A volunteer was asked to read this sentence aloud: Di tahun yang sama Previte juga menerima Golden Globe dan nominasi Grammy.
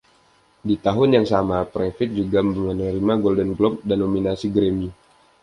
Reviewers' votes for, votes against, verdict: 2, 0, accepted